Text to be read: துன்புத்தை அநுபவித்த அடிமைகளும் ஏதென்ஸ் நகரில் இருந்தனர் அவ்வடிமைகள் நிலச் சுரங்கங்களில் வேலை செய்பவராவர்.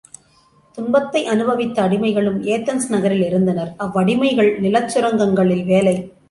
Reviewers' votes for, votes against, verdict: 0, 2, rejected